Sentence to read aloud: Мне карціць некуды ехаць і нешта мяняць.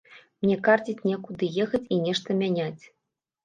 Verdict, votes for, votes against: rejected, 1, 2